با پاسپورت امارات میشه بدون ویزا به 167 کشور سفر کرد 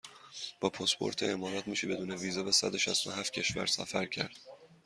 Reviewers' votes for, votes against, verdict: 0, 2, rejected